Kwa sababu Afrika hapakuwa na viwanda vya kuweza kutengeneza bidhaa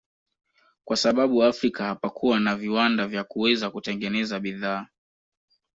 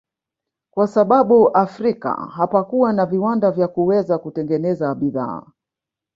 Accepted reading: first